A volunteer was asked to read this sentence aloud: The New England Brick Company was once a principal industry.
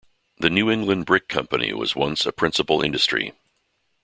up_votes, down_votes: 2, 0